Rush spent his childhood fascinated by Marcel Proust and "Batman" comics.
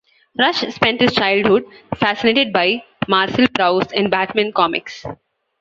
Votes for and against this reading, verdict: 1, 2, rejected